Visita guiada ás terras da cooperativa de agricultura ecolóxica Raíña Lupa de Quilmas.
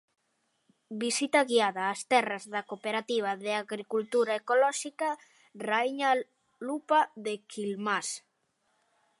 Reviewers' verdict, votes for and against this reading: rejected, 0, 2